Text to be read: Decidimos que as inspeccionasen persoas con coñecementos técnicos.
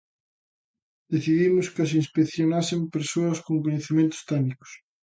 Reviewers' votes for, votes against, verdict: 2, 0, accepted